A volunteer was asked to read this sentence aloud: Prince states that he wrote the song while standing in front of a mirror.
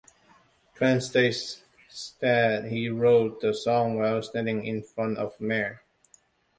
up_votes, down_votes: 1, 2